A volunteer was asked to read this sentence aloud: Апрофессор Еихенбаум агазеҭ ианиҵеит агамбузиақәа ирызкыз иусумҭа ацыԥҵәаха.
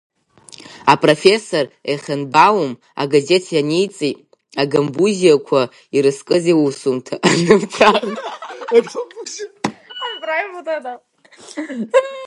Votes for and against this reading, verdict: 7, 10, rejected